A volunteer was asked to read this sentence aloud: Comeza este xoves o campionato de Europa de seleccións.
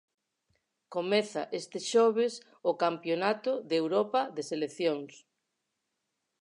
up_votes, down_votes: 4, 0